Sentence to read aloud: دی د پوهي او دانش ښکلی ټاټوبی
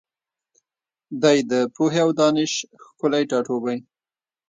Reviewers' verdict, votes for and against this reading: rejected, 0, 2